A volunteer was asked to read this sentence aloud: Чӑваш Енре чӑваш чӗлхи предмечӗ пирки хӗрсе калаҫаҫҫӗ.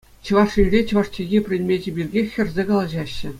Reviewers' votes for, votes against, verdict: 2, 0, accepted